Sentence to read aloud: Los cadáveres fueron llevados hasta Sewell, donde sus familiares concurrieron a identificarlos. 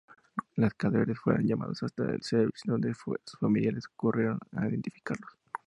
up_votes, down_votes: 2, 0